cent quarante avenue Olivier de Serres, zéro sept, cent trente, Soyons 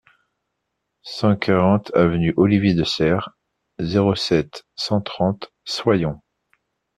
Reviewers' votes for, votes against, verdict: 2, 0, accepted